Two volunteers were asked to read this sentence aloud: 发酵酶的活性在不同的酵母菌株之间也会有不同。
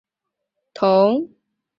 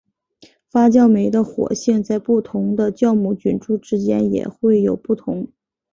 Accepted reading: second